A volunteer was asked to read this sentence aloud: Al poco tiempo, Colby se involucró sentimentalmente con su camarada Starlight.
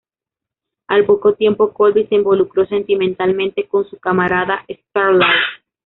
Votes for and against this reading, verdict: 1, 2, rejected